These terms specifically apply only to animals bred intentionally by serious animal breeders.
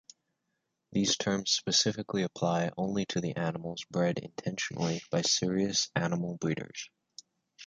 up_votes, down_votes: 1, 2